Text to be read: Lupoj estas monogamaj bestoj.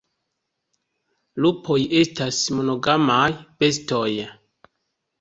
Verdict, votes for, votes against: rejected, 1, 2